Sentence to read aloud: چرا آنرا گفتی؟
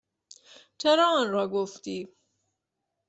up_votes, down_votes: 2, 0